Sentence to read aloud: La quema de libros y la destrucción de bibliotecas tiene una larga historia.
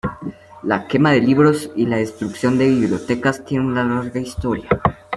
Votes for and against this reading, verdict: 2, 0, accepted